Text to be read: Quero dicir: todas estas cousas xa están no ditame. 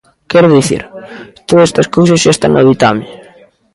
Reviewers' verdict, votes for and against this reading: accepted, 2, 0